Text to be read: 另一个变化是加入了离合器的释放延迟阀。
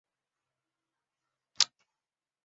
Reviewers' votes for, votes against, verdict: 0, 3, rejected